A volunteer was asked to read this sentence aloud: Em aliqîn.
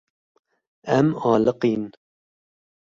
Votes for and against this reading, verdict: 2, 0, accepted